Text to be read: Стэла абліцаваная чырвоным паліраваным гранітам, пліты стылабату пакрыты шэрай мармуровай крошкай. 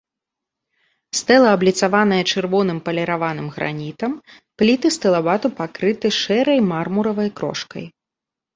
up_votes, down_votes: 0, 2